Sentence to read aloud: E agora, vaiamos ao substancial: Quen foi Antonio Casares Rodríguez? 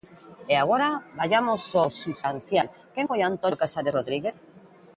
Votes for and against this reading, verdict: 1, 2, rejected